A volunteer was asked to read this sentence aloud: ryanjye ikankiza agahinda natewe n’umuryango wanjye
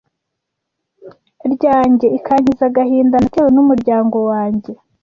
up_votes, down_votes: 2, 0